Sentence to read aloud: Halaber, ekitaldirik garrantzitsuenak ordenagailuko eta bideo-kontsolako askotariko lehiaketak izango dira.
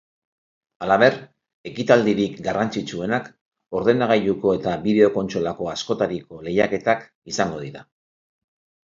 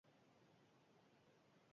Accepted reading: first